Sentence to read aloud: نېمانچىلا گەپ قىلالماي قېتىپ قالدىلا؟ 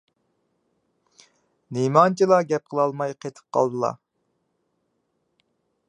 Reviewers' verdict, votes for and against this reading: accepted, 2, 0